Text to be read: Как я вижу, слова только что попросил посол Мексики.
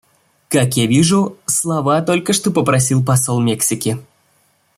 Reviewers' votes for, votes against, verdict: 2, 1, accepted